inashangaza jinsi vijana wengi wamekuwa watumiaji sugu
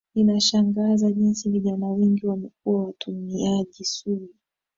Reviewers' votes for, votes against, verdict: 3, 0, accepted